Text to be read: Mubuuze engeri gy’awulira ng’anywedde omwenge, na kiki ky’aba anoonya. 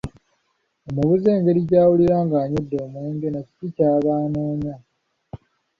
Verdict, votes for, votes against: rejected, 0, 2